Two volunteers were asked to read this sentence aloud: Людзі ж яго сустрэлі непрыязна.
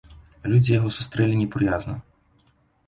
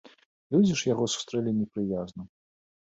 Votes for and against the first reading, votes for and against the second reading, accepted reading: 0, 2, 2, 0, second